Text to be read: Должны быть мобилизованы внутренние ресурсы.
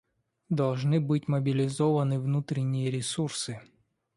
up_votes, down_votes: 2, 0